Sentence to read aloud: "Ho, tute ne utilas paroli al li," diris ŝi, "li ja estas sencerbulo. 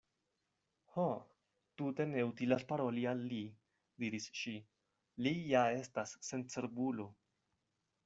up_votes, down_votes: 2, 0